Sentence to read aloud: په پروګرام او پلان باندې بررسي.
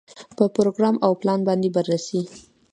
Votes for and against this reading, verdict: 2, 1, accepted